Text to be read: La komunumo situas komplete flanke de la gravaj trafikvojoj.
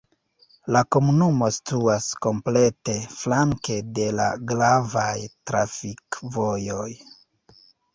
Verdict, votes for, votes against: accepted, 3, 0